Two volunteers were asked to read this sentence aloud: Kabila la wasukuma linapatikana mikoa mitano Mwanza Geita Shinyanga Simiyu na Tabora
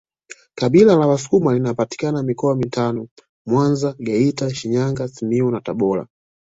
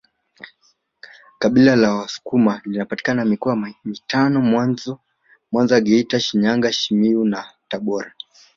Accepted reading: first